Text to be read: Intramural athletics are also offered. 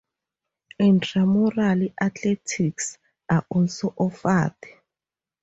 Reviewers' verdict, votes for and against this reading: accepted, 2, 0